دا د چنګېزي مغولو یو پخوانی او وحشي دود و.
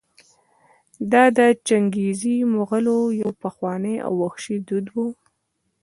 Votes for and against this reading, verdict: 2, 1, accepted